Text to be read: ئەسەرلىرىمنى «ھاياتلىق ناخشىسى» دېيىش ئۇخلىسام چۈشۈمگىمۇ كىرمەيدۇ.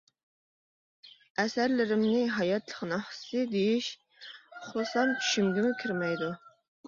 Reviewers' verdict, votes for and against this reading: accepted, 2, 0